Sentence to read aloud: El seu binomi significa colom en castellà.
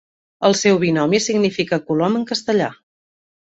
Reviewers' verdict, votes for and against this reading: accepted, 2, 0